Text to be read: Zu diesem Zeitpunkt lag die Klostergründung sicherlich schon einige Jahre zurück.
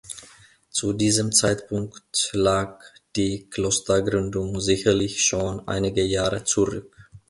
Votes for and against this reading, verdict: 2, 1, accepted